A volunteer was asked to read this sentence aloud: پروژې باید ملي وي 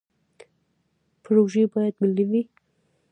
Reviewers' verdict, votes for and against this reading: rejected, 0, 2